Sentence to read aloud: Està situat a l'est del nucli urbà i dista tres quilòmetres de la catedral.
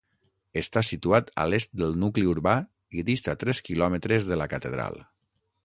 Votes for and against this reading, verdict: 6, 0, accepted